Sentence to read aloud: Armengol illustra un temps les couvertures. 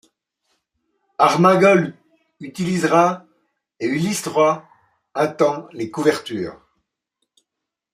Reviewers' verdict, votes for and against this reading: rejected, 0, 2